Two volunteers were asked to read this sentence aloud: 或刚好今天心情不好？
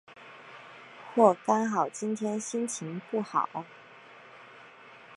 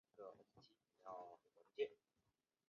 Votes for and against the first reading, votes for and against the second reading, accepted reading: 5, 0, 1, 2, first